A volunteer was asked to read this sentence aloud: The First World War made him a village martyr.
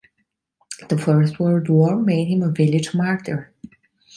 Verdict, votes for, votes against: accepted, 2, 0